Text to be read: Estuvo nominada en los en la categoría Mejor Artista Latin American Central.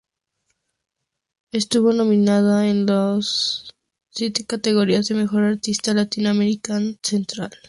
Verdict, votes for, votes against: accepted, 2, 0